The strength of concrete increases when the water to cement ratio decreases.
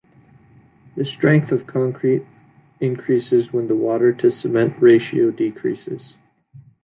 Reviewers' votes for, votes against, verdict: 2, 0, accepted